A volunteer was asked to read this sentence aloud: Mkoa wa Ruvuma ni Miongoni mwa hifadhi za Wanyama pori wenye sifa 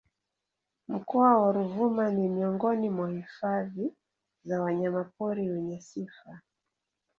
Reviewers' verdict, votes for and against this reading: rejected, 1, 2